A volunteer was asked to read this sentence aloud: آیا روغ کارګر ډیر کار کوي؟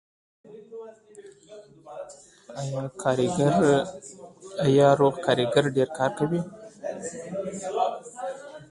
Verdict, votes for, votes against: rejected, 1, 2